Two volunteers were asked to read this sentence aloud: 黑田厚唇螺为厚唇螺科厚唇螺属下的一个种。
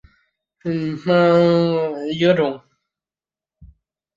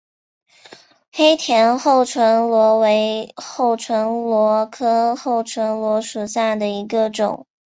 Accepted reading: second